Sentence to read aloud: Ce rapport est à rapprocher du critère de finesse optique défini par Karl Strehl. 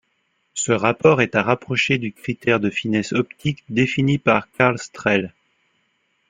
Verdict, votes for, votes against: accepted, 2, 0